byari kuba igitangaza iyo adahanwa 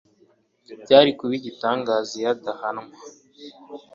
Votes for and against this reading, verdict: 2, 0, accepted